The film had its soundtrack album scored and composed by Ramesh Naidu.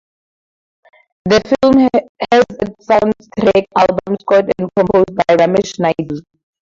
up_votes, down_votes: 0, 2